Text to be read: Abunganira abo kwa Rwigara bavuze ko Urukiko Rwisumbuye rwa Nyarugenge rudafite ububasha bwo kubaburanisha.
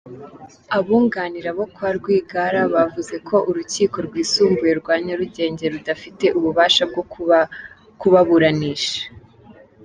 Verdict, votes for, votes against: rejected, 1, 2